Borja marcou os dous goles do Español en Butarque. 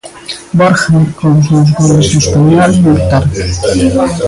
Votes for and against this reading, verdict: 0, 2, rejected